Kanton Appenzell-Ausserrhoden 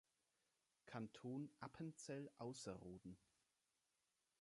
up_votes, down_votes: 2, 0